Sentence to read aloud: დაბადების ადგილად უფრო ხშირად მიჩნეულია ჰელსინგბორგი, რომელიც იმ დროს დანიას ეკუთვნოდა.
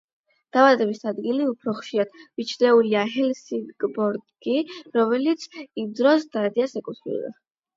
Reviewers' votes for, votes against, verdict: 4, 8, rejected